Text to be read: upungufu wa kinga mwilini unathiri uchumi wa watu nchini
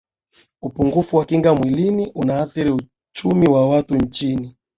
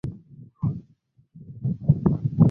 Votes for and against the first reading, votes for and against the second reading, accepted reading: 2, 0, 0, 13, first